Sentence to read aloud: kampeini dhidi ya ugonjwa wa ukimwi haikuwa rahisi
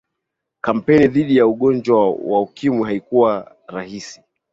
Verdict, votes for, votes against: accepted, 15, 2